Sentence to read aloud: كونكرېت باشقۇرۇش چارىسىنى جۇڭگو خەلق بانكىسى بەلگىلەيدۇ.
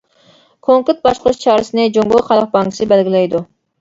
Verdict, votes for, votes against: rejected, 1, 2